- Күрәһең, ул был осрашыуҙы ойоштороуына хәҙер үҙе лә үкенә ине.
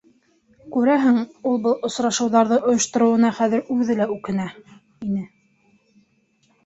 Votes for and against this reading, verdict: 0, 2, rejected